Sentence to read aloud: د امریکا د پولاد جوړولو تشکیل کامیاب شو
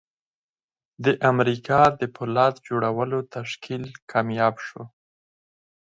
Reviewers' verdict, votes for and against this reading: accepted, 4, 2